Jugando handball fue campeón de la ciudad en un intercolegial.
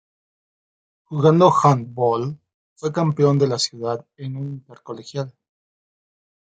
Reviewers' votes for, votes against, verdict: 1, 2, rejected